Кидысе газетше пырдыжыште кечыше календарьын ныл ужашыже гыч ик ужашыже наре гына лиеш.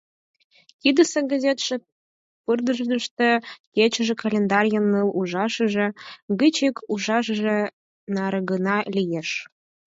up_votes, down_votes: 2, 4